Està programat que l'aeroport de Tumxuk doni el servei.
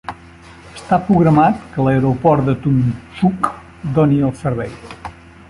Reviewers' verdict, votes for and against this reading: accepted, 2, 0